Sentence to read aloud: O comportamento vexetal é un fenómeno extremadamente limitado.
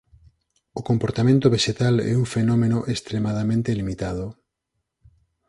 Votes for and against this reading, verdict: 4, 0, accepted